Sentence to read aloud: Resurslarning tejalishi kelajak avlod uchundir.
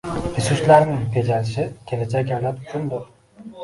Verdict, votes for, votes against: rejected, 0, 2